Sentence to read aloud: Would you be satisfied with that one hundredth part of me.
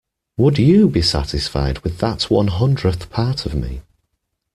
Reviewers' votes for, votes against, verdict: 2, 0, accepted